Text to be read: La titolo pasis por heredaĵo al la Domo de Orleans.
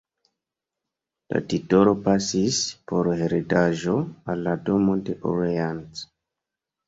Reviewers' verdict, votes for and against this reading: rejected, 1, 2